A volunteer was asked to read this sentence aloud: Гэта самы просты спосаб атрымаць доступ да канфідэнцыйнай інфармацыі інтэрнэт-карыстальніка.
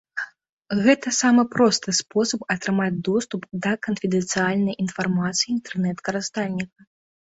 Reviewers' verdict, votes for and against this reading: rejected, 0, 2